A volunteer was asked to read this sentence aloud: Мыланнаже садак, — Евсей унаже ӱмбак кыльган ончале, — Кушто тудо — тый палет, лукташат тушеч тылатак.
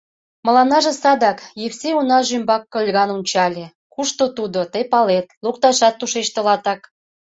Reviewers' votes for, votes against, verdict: 2, 0, accepted